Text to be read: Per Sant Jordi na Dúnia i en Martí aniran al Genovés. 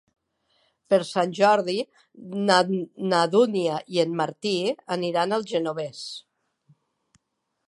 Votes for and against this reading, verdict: 1, 2, rejected